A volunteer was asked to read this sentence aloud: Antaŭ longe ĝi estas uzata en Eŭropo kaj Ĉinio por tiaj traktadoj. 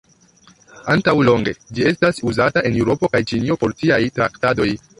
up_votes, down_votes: 2, 1